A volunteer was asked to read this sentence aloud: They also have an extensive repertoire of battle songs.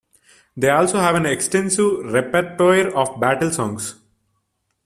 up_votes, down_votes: 2, 1